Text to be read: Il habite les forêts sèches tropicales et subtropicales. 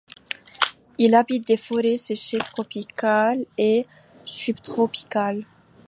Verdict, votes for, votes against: rejected, 1, 2